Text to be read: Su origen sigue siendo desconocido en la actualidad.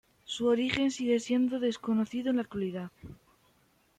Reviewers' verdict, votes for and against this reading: accepted, 2, 1